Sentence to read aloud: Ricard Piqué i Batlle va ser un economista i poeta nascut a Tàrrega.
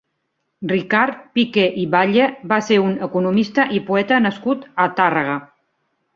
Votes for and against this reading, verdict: 2, 1, accepted